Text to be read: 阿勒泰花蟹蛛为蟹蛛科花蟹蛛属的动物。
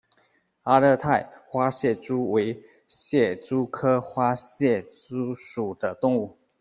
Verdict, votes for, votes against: accepted, 2, 0